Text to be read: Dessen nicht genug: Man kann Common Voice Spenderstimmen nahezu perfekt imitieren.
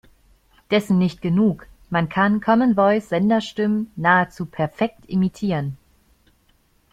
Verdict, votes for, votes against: accepted, 2, 1